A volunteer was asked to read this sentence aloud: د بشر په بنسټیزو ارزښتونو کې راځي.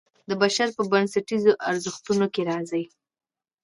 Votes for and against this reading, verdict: 2, 0, accepted